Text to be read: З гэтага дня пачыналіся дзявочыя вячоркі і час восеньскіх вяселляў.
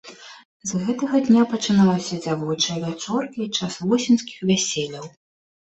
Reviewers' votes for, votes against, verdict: 0, 2, rejected